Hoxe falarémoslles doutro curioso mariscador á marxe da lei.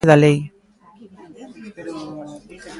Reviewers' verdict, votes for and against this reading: rejected, 0, 2